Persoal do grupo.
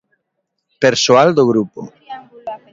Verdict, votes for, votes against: accepted, 2, 1